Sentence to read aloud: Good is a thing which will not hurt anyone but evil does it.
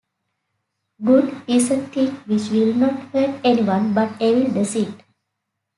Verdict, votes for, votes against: rejected, 0, 2